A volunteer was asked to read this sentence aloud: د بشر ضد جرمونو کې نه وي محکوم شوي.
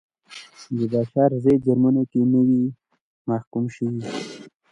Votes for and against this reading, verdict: 1, 2, rejected